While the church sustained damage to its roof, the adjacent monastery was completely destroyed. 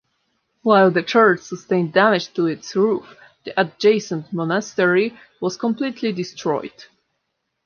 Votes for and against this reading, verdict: 2, 0, accepted